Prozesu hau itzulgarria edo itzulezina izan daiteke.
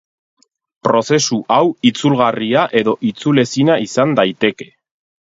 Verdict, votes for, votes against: accepted, 6, 0